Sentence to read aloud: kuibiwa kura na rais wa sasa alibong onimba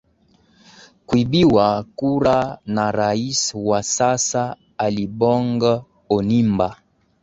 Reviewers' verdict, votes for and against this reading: accepted, 4, 0